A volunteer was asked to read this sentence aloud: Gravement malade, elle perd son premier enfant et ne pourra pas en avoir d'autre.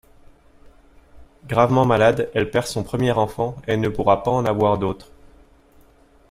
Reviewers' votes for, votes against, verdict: 2, 0, accepted